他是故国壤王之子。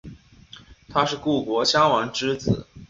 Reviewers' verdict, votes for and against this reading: accepted, 4, 1